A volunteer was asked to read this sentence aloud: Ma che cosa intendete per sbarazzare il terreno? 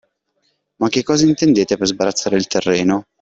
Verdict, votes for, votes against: accepted, 2, 0